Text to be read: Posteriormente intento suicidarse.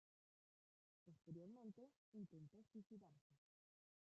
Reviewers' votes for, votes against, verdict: 0, 2, rejected